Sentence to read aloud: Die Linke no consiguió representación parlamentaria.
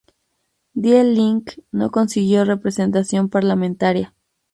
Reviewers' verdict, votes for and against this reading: accepted, 2, 0